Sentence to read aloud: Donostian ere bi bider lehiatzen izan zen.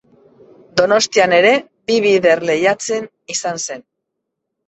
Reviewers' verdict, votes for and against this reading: accepted, 2, 0